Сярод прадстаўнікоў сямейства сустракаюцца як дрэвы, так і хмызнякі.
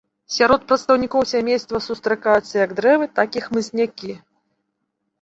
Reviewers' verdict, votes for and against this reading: accepted, 3, 0